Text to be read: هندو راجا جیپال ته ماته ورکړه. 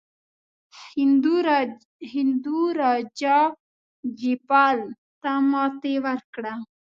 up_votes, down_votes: 2, 1